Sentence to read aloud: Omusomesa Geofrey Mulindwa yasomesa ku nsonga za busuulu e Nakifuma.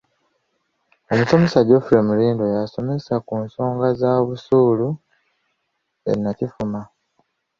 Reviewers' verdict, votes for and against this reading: rejected, 1, 2